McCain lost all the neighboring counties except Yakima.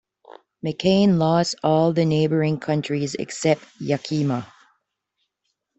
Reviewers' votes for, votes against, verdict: 2, 1, accepted